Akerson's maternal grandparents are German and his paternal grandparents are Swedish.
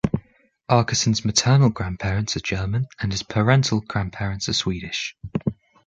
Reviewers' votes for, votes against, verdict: 1, 2, rejected